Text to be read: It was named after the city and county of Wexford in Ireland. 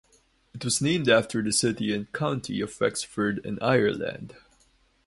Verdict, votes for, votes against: accepted, 4, 0